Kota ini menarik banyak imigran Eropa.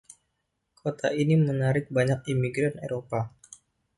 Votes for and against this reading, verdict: 2, 0, accepted